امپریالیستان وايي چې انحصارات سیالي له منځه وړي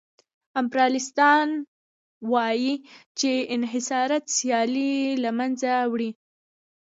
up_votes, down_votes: 0, 2